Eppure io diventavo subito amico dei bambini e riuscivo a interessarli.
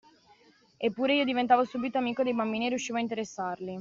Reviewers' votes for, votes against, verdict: 2, 0, accepted